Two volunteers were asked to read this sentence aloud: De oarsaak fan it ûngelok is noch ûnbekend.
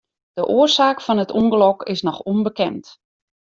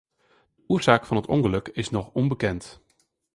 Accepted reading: first